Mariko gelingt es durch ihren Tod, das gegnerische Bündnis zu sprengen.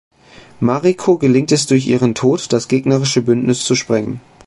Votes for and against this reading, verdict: 2, 0, accepted